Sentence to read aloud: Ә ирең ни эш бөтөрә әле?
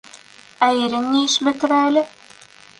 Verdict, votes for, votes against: accepted, 2, 0